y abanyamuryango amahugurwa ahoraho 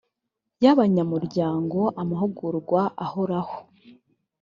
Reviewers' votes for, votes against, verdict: 2, 0, accepted